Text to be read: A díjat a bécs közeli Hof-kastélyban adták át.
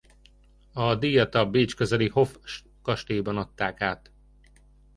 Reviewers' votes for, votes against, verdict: 1, 2, rejected